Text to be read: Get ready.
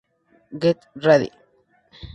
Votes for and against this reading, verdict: 4, 0, accepted